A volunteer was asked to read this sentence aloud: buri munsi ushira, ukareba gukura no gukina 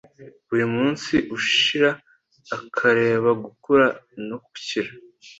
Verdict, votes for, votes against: rejected, 1, 2